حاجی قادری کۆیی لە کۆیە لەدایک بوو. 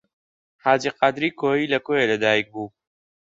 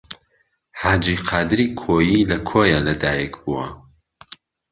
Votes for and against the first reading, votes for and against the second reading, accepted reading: 2, 0, 1, 2, first